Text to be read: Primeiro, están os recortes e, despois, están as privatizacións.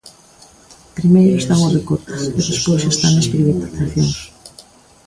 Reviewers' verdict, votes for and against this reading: rejected, 0, 2